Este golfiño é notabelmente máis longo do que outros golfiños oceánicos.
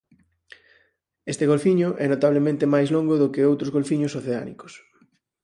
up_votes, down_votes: 2, 4